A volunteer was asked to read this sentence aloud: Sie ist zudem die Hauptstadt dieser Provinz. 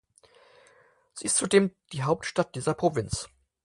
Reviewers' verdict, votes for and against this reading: accepted, 4, 0